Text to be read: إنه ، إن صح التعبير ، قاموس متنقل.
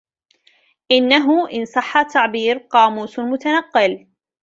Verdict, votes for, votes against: accepted, 2, 0